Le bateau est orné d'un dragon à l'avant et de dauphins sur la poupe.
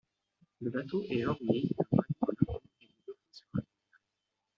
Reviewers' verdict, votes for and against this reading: rejected, 0, 2